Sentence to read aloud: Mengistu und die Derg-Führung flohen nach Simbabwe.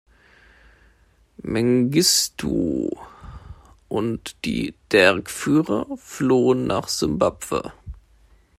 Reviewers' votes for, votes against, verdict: 1, 2, rejected